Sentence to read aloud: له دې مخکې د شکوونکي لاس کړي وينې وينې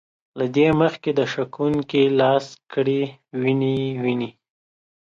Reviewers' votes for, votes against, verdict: 0, 2, rejected